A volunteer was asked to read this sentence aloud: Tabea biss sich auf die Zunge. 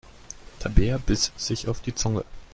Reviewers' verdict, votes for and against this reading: accepted, 2, 0